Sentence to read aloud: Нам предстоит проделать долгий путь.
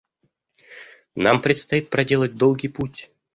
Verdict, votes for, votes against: accepted, 2, 0